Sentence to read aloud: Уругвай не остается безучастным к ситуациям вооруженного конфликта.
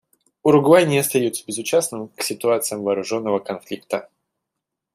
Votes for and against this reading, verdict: 2, 0, accepted